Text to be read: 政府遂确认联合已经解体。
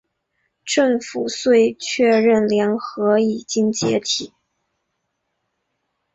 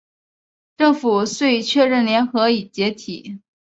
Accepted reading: second